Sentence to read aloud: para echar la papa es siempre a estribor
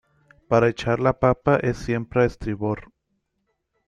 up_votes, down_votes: 2, 0